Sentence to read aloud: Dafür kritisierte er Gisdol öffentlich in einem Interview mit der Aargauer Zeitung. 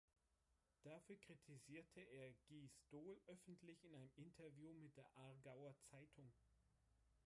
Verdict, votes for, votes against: rejected, 1, 3